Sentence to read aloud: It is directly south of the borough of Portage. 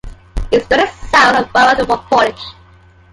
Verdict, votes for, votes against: rejected, 1, 3